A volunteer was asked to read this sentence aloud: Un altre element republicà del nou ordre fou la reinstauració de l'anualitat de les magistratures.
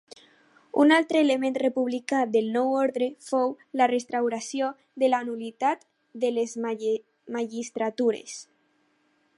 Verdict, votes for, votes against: rejected, 0, 6